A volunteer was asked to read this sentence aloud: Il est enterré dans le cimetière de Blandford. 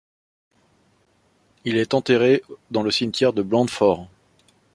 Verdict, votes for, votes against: accepted, 2, 1